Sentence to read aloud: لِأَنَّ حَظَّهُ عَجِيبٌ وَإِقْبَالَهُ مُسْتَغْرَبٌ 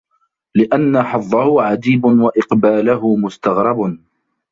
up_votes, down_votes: 1, 2